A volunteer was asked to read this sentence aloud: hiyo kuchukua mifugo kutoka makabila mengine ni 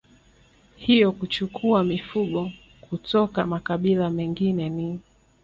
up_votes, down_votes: 0, 2